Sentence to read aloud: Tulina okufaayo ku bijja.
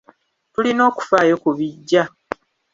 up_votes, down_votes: 2, 0